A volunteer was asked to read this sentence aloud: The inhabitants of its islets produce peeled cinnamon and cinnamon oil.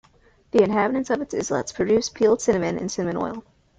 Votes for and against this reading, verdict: 1, 2, rejected